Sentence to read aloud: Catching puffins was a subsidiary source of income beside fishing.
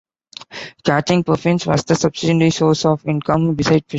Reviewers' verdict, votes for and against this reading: rejected, 0, 2